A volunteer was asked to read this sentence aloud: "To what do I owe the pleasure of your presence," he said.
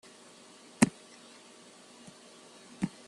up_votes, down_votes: 0, 2